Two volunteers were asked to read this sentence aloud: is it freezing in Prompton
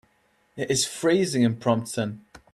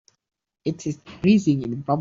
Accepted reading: second